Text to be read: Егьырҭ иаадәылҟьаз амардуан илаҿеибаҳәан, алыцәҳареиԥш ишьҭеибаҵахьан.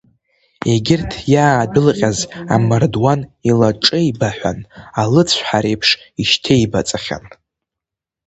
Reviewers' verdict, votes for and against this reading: accepted, 3, 0